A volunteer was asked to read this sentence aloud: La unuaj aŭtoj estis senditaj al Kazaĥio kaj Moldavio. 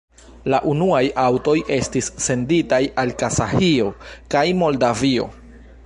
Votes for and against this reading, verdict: 0, 2, rejected